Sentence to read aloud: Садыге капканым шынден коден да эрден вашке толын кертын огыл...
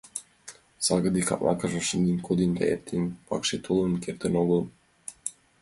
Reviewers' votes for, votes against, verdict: 0, 4, rejected